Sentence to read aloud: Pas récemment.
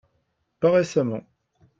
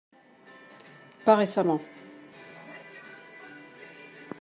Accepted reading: first